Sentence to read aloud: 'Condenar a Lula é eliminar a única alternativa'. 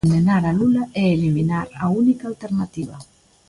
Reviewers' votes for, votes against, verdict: 0, 2, rejected